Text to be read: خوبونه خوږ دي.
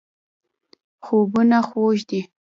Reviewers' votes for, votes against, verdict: 1, 2, rejected